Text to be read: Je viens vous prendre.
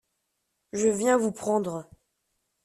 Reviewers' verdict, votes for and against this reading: accepted, 2, 0